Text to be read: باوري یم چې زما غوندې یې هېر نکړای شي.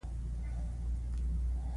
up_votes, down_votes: 1, 2